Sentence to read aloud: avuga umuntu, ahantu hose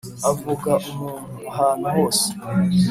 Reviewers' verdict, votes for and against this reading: accepted, 2, 0